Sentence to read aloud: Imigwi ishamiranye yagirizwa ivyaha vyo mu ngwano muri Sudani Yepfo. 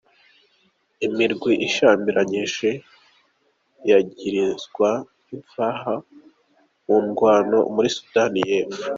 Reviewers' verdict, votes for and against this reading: rejected, 0, 2